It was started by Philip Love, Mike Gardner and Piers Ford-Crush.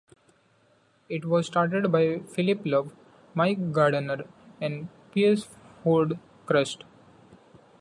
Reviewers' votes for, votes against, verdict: 1, 2, rejected